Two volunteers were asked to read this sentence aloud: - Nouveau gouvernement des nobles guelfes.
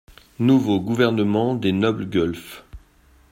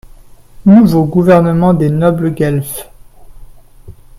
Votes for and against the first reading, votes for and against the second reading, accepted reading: 0, 2, 2, 0, second